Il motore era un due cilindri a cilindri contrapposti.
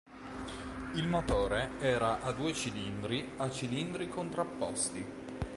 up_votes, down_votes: 0, 2